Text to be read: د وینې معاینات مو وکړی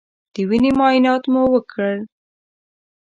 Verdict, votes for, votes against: accepted, 2, 1